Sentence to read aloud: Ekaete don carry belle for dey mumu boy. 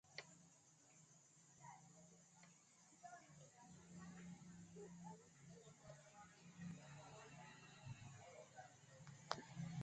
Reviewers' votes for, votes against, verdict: 1, 2, rejected